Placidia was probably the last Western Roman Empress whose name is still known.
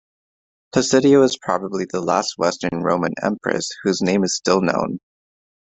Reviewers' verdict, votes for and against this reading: accepted, 2, 0